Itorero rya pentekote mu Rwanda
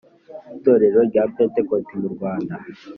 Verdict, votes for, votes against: accepted, 3, 0